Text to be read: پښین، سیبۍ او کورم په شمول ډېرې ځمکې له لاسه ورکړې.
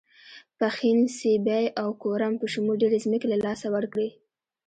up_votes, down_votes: 0, 2